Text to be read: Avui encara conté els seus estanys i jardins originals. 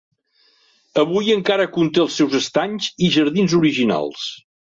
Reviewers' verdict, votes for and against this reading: accepted, 4, 0